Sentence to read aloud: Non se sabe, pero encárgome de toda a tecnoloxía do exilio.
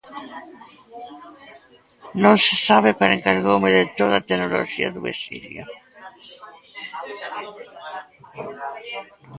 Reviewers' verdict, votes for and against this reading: rejected, 0, 2